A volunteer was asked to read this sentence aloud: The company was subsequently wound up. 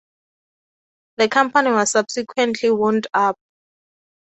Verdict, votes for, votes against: accepted, 4, 0